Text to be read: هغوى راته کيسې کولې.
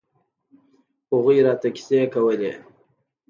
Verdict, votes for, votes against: accepted, 2, 0